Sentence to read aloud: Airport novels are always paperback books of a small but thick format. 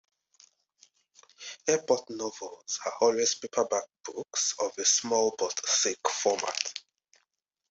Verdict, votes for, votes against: accepted, 2, 1